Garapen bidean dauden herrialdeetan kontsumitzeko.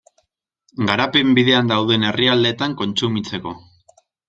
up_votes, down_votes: 2, 0